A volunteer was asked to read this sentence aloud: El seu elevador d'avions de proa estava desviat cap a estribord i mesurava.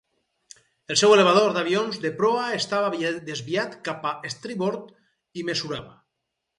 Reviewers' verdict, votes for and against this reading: rejected, 2, 2